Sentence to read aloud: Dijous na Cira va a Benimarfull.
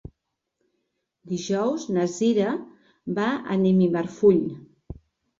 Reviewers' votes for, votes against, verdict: 0, 3, rejected